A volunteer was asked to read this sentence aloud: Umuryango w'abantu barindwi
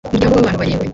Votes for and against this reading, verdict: 0, 2, rejected